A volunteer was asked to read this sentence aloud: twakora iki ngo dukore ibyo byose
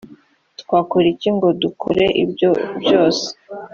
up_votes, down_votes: 2, 0